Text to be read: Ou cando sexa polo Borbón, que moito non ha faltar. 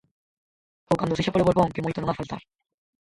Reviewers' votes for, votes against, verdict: 0, 4, rejected